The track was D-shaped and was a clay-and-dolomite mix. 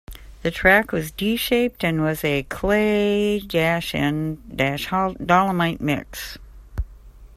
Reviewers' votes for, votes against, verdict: 0, 2, rejected